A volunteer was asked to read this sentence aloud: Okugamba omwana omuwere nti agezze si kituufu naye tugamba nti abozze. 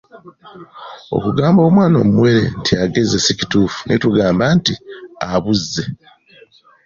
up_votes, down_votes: 2, 1